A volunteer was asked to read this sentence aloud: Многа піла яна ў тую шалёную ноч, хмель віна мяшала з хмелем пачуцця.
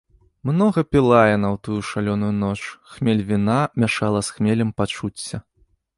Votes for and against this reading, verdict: 3, 1, accepted